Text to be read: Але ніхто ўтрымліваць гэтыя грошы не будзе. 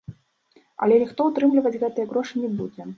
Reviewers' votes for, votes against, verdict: 2, 0, accepted